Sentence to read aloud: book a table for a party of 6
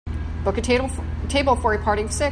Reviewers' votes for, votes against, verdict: 0, 2, rejected